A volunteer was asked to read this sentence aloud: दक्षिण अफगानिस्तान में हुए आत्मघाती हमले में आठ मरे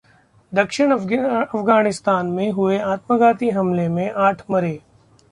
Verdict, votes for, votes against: rejected, 0, 2